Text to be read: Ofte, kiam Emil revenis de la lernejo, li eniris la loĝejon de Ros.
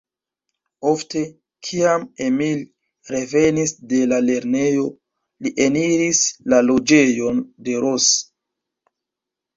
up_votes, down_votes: 0, 2